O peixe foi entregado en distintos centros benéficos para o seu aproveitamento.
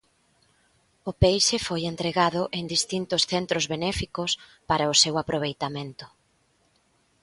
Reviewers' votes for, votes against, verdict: 2, 0, accepted